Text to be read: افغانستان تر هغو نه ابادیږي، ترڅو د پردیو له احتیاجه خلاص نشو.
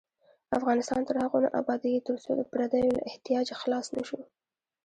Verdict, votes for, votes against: rejected, 1, 2